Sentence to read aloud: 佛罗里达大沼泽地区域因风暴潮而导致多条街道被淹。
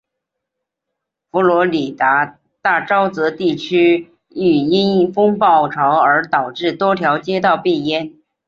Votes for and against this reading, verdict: 5, 1, accepted